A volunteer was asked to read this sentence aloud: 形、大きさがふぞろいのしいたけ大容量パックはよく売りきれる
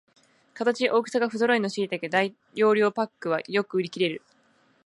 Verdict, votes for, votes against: accepted, 2, 0